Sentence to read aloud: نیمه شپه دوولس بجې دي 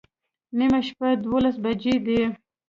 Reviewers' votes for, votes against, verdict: 2, 0, accepted